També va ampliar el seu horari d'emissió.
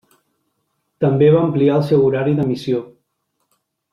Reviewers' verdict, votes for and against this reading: accepted, 2, 0